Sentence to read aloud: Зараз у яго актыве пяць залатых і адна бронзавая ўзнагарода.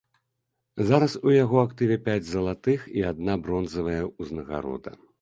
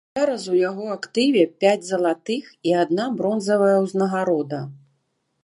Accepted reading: first